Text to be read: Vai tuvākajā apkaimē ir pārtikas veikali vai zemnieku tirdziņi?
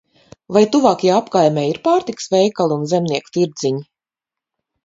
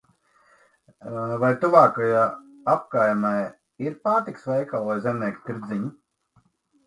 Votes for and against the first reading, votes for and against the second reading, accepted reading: 0, 4, 2, 0, second